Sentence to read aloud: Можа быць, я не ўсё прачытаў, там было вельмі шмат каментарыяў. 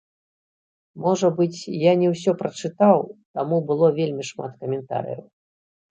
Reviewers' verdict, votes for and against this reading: rejected, 1, 3